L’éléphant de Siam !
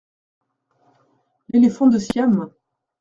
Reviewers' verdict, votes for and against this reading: rejected, 1, 2